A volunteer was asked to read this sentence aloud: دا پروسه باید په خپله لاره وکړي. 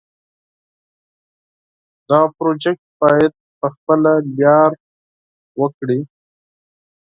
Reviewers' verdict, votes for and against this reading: accepted, 4, 2